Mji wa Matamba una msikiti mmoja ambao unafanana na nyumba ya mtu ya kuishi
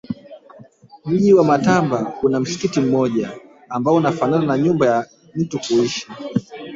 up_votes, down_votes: 2, 3